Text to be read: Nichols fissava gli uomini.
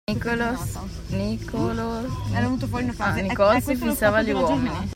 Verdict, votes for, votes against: rejected, 0, 2